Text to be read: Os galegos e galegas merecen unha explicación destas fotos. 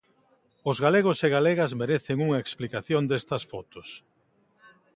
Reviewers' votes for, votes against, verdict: 2, 0, accepted